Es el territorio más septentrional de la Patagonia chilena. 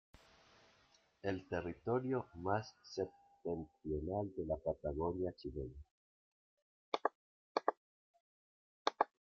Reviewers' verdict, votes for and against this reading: rejected, 0, 2